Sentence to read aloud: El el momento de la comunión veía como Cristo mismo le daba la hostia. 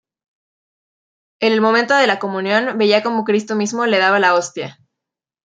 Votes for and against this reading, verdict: 1, 2, rejected